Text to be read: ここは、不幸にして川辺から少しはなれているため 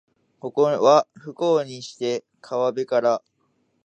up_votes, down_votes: 0, 6